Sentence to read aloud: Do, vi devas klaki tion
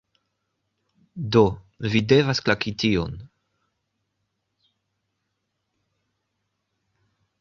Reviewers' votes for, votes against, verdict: 2, 0, accepted